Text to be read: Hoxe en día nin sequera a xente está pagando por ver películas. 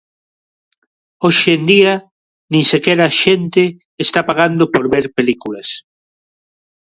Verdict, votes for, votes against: rejected, 0, 2